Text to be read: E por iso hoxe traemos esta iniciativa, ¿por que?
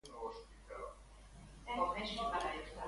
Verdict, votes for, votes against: rejected, 0, 2